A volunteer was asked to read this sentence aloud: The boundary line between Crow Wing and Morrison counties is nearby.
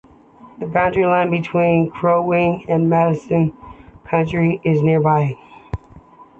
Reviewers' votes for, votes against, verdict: 1, 2, rejected